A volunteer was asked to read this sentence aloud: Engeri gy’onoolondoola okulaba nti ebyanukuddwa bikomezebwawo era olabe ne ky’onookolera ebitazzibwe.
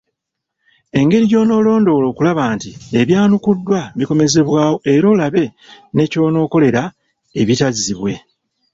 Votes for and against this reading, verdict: 2, 0, accepted